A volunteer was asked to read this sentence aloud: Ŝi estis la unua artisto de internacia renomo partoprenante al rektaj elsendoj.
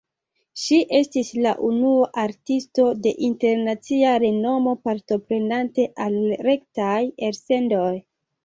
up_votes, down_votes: 2, 1